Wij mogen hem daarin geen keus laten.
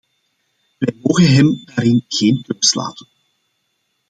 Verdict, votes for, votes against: rejected, 1, 2